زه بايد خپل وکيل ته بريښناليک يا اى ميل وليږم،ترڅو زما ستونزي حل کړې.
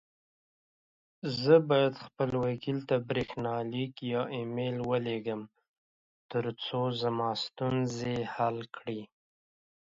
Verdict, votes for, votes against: accepted, 2, 0